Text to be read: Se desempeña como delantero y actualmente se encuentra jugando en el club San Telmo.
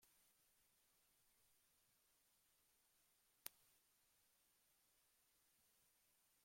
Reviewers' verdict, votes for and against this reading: rejected, 0, 2